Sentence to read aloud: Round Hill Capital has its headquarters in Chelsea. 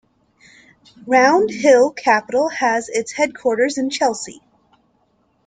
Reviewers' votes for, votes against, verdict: 2, 0, accepted